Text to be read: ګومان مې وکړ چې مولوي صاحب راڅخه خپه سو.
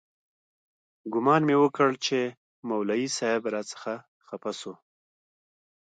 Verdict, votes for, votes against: accepted, 2, 1